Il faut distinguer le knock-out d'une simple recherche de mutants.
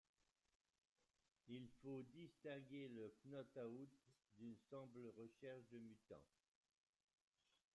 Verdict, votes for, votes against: rejected, 1, 2